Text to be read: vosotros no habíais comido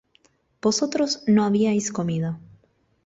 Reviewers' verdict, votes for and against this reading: accepted, 2, 0